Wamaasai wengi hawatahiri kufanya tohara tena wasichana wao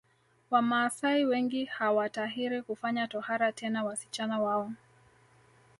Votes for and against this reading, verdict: 3, 2, accepted